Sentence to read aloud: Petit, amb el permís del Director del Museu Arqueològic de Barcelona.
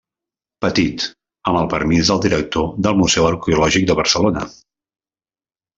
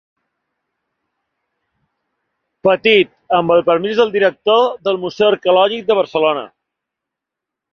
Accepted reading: second